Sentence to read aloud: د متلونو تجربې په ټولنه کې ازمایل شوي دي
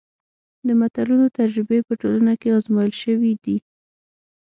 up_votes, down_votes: 6, 0